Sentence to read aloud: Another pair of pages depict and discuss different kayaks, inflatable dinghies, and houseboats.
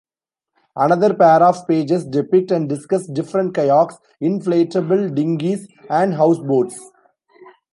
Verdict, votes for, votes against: accepted, 2, 0